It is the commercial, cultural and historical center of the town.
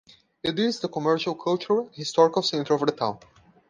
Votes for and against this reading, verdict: 2, 0, accepted